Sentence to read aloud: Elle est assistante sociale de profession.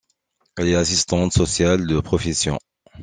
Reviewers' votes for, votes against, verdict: 2, 1, accepted